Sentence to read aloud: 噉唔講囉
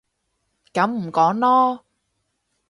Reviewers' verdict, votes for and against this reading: accepted, 4, 0